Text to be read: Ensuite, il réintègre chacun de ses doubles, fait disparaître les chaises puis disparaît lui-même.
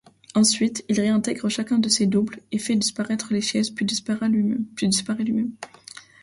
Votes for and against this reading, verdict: 0, 2, rejected